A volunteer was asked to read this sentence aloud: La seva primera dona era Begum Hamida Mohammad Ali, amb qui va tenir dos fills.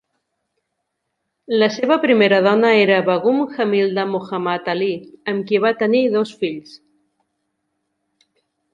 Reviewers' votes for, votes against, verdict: 1, 2, rejected